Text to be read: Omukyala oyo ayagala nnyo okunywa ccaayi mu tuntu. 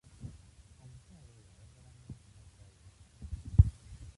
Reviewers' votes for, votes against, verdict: 0, 2, rejected